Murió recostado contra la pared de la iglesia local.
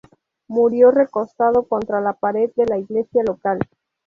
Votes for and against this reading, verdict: 2, 0, accepted